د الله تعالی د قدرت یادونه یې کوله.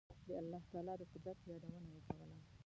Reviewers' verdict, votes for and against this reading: rejected, 1, 2